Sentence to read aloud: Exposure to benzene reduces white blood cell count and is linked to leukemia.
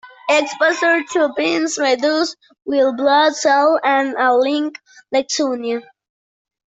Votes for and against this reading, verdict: 0, 2, rejected